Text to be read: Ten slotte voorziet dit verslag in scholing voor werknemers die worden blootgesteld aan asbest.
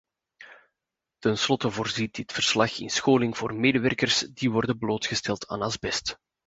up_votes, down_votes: 0, 2